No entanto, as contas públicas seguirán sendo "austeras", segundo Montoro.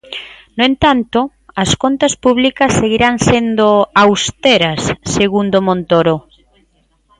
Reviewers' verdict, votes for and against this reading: accepted, 2, 0